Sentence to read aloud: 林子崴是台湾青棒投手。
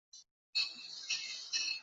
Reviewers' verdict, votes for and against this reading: rejected, 0, 2